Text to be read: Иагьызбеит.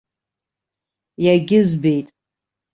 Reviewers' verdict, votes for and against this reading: accepted, 2, 0